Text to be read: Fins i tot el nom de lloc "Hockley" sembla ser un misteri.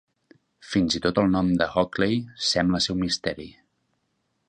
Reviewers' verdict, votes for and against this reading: rejected, 1, 3